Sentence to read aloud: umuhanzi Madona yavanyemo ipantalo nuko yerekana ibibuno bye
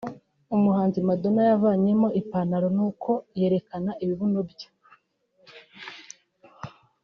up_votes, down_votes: 1, 2